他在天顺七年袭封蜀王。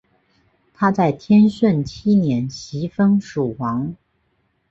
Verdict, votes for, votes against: accepted, 3, 0